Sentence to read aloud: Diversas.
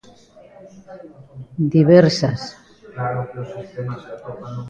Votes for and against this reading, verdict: 1, 2, rejected